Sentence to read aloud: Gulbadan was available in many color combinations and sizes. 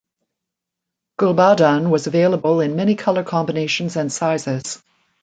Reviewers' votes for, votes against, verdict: 2, 0, accepted